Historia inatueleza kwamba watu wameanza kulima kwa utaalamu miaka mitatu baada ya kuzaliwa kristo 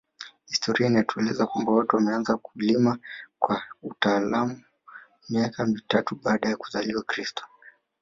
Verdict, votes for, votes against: rejected, 0, 2